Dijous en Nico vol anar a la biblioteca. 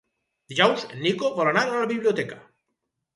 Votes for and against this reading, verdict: 2, 0, accepted